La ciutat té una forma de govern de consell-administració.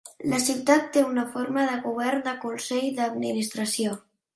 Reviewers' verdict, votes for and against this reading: rejected, 1, 3